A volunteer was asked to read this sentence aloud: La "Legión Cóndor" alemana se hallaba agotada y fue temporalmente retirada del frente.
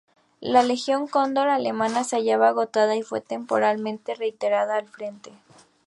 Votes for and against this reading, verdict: 0, 2, rejected